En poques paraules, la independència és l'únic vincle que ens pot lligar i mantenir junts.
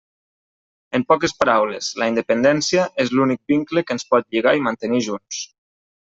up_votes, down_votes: 2, 0